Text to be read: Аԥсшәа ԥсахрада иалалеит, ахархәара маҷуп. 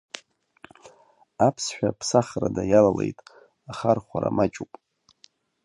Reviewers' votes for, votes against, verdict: 2, 0, accepted